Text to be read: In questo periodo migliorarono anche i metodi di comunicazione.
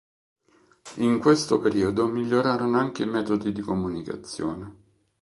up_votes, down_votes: 2, 1